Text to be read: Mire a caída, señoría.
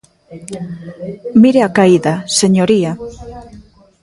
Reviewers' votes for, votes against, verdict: 0, 2, rejected